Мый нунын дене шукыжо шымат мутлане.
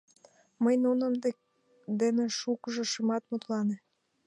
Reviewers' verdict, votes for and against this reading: rejected, 0, 2